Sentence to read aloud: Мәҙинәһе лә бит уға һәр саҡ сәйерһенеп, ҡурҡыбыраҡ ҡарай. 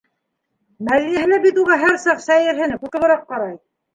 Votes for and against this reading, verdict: 2, 0, accepted